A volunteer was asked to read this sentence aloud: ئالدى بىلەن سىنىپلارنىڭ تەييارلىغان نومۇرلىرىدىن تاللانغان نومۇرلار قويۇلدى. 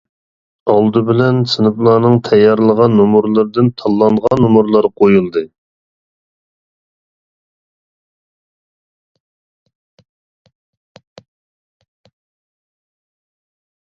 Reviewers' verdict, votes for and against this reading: rejected, 1, 2